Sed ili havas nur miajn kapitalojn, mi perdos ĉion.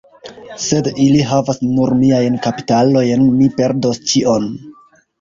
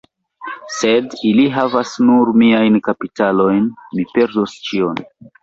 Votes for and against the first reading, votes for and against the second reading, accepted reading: 2, 1, 0, 2, first